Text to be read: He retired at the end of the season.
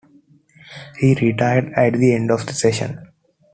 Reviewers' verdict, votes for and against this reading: rejected, 1, 2